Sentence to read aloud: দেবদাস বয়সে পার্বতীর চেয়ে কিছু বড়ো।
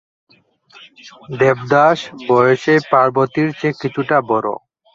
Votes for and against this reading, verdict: 1, 2, rejected